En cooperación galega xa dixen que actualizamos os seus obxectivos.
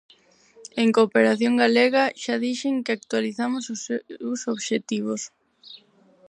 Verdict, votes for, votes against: rejected, 0, 4